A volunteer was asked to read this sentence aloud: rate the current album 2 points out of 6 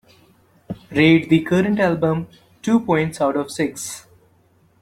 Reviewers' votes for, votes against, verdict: 0, 2, rejected